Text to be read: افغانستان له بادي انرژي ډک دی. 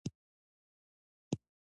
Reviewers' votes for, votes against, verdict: 2, 1, accepted